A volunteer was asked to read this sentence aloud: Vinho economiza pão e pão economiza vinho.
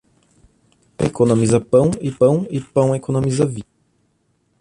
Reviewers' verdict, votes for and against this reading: rejected, 0, 2